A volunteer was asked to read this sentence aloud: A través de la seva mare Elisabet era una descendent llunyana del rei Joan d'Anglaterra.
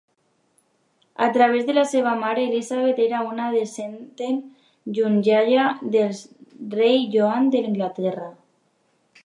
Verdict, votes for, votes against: rejected, 1, 2